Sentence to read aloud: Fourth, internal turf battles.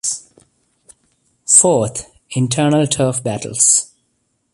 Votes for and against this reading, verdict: 2, 0, accepted